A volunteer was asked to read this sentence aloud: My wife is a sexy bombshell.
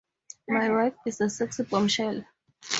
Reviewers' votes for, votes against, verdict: 0, 2, rejected